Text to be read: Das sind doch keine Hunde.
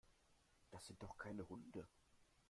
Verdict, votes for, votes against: rejected, 0, 2